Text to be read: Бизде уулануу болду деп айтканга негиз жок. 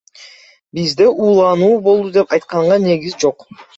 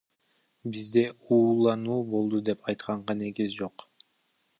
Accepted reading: first